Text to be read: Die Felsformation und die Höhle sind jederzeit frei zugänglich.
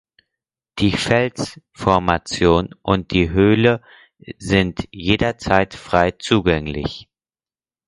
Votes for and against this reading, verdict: 4, 0, accepted